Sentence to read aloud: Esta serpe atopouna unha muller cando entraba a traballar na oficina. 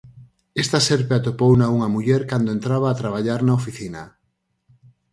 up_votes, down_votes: 4, 0